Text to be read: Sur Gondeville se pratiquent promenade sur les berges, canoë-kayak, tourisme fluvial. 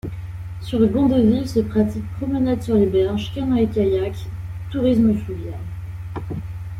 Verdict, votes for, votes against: rejected, 1, 2